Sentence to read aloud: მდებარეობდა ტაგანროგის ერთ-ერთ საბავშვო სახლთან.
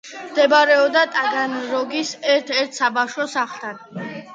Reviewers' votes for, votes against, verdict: 2, 0, accepted